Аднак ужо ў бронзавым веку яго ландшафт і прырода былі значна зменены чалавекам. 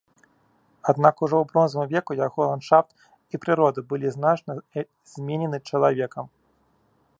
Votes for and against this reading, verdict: 1, 2, rejected